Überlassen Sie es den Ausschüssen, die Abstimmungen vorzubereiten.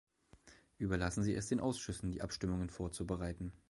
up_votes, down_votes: 2, 0